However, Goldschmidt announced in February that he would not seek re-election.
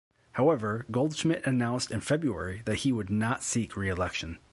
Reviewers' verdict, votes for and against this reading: accepted, 2, 0